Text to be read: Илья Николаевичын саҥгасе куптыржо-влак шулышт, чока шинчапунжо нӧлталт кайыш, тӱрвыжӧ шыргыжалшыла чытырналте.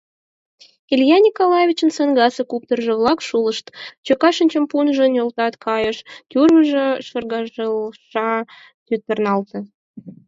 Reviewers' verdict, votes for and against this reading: rejected, 2, 4